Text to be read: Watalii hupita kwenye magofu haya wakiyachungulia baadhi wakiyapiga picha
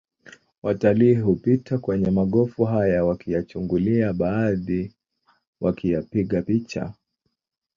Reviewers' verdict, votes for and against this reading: rejected, 1, 2